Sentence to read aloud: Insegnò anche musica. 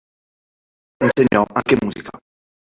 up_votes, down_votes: 0, 2